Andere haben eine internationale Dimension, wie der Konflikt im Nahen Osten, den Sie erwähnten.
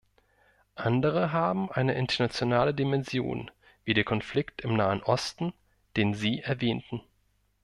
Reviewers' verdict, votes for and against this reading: accepted, 2, 0